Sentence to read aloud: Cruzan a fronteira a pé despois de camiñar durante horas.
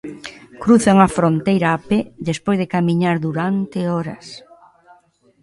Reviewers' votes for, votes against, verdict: 1, 2, rejected